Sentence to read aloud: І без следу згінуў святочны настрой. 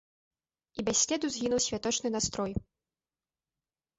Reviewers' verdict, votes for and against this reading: accepted, 2, 0